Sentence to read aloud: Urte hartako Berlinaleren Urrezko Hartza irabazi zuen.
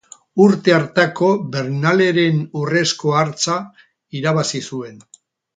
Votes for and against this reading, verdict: 2, 4, rejected